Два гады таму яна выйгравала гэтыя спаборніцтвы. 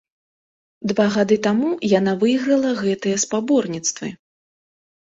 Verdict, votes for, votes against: rejected, 0, 2